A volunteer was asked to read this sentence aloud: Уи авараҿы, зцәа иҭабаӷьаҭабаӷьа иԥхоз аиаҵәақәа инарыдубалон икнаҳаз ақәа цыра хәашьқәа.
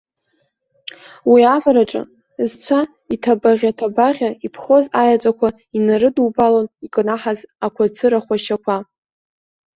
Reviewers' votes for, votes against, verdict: 0, 2, rejected